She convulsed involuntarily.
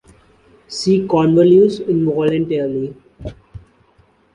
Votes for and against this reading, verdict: 1, 2, rejected